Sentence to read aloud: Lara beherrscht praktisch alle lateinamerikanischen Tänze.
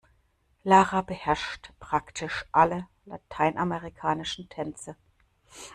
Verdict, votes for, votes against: accepted, 2, 0